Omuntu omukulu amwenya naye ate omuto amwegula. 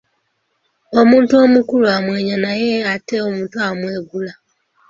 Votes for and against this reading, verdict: 2, 0, accepted